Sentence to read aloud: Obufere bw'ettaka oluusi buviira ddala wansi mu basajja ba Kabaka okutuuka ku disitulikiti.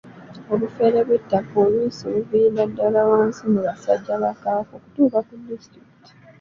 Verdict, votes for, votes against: accepted, 2, 1